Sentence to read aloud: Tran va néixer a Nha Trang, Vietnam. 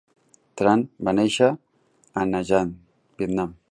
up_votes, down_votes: 0, 3